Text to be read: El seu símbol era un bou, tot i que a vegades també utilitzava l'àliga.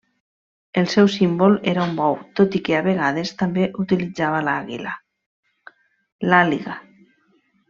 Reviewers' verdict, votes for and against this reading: rejected, 0, 2